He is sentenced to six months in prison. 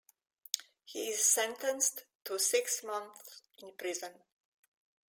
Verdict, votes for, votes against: accepted, 2, 0